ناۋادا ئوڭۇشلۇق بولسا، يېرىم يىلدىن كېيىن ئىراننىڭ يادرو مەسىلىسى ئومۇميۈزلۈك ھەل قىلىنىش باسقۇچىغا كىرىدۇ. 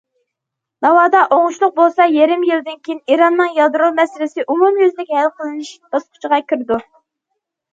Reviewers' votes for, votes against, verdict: 2, 0, accepted